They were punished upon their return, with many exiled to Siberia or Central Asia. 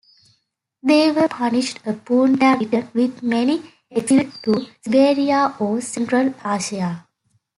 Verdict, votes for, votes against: rejected, 1, 2